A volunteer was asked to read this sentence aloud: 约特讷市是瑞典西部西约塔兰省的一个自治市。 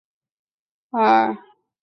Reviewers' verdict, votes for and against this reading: rejected, 0, 2